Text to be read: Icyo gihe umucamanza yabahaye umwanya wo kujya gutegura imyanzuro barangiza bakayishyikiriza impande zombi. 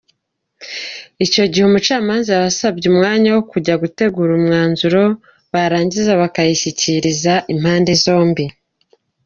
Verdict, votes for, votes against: accepted, 2, 0